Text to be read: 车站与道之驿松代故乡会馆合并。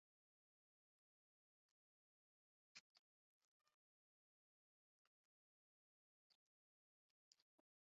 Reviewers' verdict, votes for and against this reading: rejected, 0, 3